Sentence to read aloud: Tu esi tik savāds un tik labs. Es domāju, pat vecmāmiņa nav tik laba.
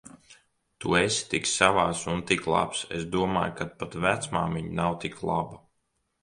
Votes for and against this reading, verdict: 0, 2, rejected